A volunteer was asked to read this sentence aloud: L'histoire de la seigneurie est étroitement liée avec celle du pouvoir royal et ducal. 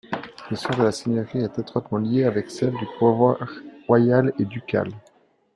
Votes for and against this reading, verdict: 1, 2, rejected